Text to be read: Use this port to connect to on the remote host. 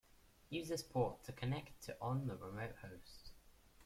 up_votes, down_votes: 2, 1